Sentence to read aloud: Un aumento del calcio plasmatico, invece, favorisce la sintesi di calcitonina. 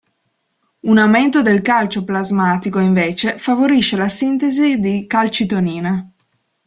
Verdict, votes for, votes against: accepted, 2, 0